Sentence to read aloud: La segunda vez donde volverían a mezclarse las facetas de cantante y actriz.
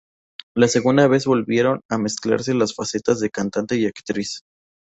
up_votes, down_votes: 0, 2